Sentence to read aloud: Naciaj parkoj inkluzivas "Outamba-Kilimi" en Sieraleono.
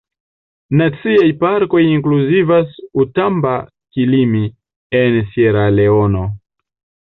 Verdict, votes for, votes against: accepted, 2, 0